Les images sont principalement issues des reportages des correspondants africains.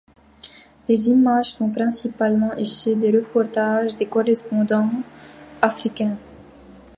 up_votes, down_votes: 1, 2